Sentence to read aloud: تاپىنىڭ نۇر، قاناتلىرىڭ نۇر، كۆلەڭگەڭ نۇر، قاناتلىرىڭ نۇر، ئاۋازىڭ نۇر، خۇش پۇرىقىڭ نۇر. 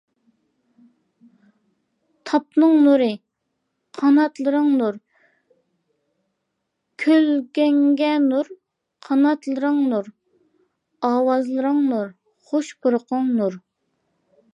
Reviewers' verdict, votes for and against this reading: rejected, 0, 2